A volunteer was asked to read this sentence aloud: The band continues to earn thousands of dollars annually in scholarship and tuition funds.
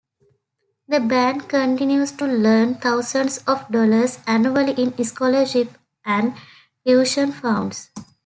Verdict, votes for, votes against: rejected, 0, 2